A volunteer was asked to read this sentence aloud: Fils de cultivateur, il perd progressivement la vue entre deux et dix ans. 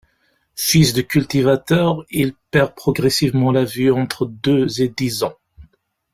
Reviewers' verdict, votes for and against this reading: rejected, 0, 2